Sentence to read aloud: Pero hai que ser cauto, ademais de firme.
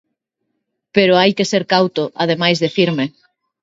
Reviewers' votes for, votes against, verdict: 2, 0, accepted